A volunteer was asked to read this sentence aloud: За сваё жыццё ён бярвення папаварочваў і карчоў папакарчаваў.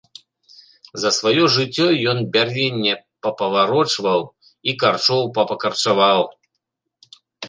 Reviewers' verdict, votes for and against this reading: accepted, 2, 0